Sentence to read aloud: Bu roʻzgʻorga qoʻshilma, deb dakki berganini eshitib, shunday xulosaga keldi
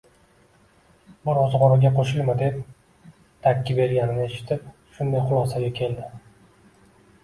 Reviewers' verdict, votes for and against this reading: accepted, 2, 1